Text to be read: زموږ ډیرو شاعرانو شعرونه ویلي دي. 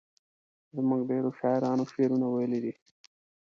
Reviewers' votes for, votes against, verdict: 2, 0, accepted